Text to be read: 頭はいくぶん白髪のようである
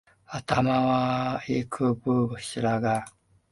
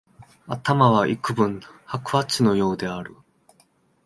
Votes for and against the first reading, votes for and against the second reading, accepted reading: 0, 2, 2, 0, second